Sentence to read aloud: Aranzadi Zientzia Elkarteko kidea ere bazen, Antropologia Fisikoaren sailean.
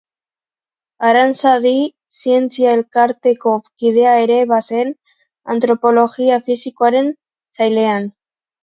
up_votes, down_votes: 2, 1